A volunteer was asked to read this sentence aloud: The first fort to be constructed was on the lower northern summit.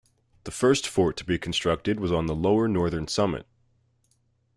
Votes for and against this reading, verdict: 2, 1, accepted